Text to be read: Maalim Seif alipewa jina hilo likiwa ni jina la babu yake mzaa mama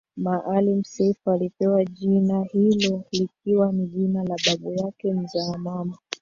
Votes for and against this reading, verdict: 0, 2, rejected